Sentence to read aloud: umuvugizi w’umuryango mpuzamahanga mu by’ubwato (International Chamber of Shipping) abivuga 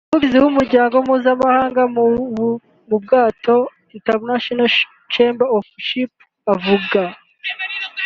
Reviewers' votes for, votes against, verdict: 0, 2, rejected